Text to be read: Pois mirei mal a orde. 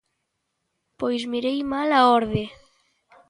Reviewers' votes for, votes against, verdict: 2, 0, accepted